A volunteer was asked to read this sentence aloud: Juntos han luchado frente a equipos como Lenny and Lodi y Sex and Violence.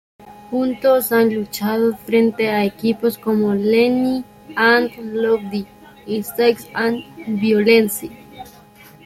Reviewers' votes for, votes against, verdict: 2, 0, accepted